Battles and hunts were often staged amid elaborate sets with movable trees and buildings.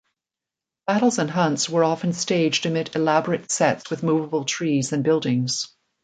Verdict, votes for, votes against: accepted, 2, 0